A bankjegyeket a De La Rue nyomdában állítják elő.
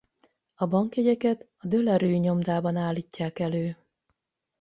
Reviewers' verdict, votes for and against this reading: rejected, 4, 4